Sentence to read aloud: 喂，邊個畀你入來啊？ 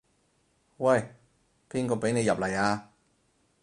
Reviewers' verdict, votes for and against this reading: rejected, 2, 4